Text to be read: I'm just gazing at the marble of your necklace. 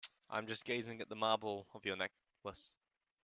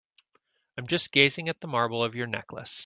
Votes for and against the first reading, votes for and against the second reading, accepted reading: 1, 2, 2, 0, second